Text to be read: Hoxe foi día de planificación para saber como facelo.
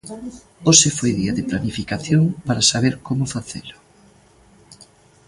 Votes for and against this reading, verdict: 0, 2, rejected